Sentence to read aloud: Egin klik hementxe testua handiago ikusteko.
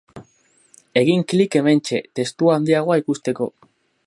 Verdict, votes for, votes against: rejected, 0, 2